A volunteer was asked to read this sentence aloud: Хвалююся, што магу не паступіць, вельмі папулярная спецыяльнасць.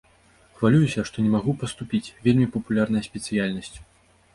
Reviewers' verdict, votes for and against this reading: rejected, 1, 2